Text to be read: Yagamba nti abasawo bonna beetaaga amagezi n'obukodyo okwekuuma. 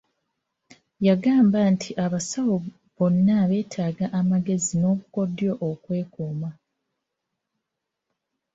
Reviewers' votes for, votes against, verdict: 2, 1, accepted